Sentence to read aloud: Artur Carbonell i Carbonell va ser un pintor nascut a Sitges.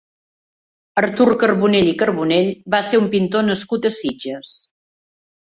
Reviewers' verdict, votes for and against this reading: accepted, 4, 0